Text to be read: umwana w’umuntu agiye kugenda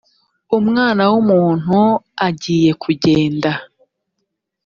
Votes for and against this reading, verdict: 3, 0, accepted